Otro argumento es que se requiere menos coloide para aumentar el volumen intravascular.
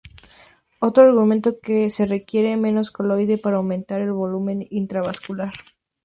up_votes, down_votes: 0, 2